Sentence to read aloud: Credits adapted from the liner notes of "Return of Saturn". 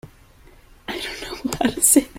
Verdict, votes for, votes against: rejected, 0, 2